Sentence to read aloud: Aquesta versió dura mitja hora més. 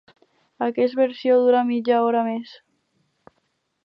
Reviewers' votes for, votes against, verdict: 0, 4, rejected